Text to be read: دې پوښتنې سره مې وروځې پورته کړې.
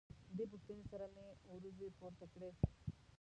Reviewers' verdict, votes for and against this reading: rejected, 0, 2